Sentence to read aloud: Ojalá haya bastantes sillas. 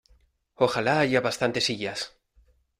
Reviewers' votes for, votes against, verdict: 2, 1, accepted